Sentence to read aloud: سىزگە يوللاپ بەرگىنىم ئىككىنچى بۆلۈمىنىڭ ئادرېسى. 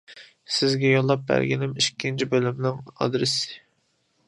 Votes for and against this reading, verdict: 2, 0, accepted